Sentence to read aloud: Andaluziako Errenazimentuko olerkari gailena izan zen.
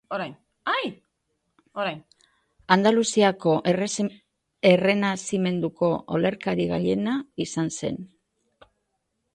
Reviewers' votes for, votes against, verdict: 0, 2, rejected